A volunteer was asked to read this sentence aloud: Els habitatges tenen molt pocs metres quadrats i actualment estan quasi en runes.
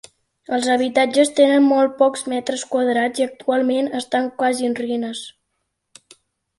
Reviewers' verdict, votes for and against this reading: rejected, 1, 2